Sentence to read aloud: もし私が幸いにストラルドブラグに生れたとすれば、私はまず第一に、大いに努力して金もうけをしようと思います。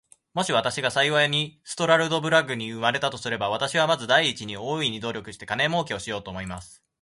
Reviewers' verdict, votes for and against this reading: accepted, 2, 0